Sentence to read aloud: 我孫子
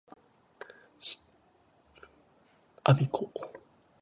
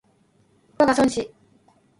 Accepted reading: first